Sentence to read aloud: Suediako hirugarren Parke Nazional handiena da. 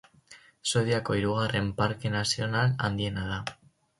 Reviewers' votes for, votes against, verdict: 2, 0, accepted